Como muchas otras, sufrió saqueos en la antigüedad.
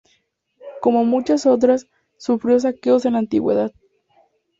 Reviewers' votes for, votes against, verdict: 6, 0, accepted